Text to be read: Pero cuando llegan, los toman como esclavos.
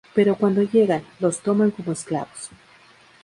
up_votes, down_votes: 2, 0